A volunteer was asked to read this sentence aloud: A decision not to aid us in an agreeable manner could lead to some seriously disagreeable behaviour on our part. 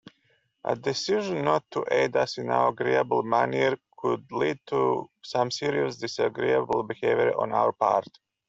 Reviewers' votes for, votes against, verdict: 0, 2, rejected